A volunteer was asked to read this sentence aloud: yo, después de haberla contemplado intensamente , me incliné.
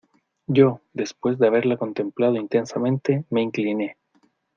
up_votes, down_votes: 2, 0